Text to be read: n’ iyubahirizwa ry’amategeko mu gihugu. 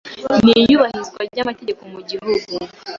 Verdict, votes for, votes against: accepted, 2, 0